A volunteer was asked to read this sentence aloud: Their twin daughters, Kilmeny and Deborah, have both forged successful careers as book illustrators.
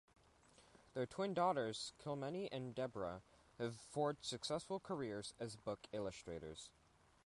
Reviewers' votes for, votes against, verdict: 0, 2, rejected